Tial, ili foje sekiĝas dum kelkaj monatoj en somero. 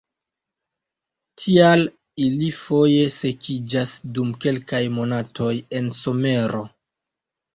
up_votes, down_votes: 2, 0